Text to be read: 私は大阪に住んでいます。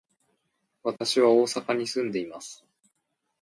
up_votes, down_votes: 1, 2